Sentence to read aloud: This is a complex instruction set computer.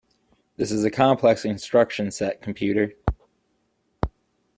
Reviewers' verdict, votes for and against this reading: accepted, 2, 0